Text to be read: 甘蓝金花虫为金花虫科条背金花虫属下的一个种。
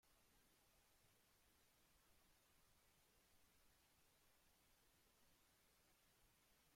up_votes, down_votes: 0, 2